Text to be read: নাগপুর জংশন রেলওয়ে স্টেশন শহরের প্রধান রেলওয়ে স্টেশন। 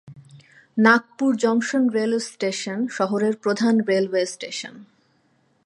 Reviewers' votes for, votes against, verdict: 3, 0, accepted